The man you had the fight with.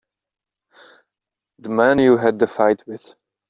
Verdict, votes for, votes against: accepted, 2, 0